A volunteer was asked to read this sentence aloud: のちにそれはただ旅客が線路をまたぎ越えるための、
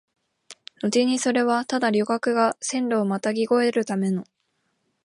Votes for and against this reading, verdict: 2, 0, accepted